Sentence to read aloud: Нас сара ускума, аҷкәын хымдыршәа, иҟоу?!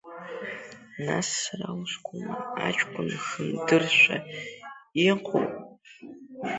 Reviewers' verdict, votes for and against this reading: rejected, 0, 2